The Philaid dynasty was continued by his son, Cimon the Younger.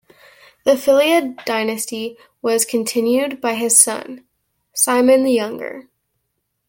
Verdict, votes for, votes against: accepted, 2, 0